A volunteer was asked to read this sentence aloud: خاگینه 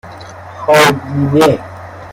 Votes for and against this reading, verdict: 0, 2, rejected